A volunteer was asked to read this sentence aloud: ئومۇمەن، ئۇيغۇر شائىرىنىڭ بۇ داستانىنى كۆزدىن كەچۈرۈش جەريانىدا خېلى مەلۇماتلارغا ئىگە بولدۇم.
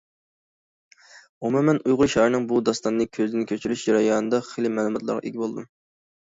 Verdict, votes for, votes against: rejected, 0, 2